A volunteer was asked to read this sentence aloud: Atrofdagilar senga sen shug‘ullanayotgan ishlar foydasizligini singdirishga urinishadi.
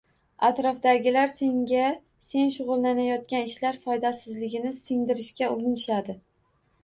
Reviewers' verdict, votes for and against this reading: accepted, 2, 0